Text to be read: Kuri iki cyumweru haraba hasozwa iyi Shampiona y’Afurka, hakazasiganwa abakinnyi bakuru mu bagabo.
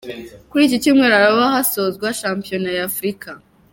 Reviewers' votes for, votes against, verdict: 1, 2, rejected